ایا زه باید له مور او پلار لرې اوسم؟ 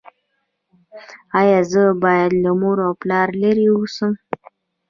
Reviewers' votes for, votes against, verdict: 0, 2, rejected